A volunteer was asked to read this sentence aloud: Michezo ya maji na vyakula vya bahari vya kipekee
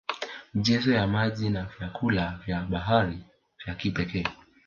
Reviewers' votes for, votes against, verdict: 2, 1, accepted